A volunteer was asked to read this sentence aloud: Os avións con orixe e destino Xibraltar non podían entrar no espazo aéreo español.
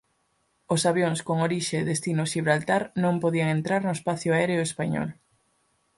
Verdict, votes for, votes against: rejected, 0, 4